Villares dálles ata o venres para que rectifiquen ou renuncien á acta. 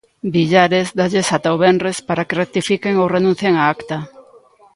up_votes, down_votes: 2, 0